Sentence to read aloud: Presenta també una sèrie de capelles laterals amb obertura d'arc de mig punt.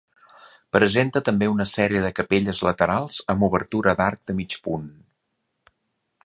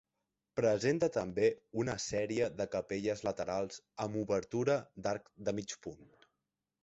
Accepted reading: first